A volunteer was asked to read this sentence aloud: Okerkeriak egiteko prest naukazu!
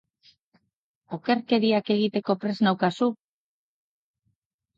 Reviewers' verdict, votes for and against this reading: accepted, 2, 0